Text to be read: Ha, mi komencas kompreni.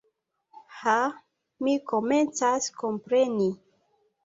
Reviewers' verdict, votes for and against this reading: accepted, 2, 0